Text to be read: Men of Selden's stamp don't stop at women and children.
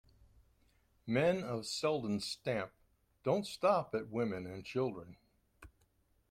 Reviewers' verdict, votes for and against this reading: accepted, 2, 0